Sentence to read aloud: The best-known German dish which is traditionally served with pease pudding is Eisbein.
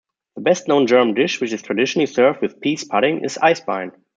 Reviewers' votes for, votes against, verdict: 2, 0, accepted